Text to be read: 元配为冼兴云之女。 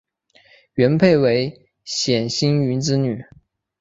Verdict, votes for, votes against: accepted, 4, 0